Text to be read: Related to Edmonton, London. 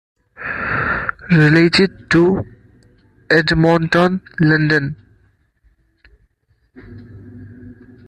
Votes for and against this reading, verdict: 2, 1, accepted